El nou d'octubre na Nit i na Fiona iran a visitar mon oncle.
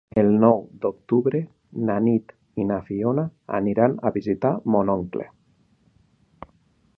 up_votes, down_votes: 0, 2